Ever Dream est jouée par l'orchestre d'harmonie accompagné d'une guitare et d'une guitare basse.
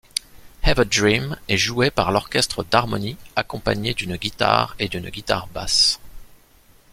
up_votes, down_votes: 2, 0